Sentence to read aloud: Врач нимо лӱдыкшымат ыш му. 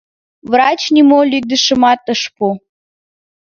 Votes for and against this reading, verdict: 1, 3, rejected